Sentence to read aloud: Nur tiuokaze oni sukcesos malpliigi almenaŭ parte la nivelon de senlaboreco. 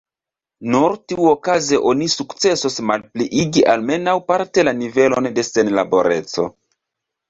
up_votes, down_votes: 1, 2